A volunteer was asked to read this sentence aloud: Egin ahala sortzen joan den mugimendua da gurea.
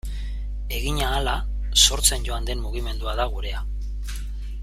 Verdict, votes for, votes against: accepted, 2, 0